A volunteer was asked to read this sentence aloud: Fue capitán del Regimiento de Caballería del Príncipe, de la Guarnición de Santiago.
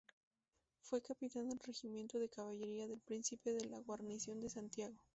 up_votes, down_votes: 2, 0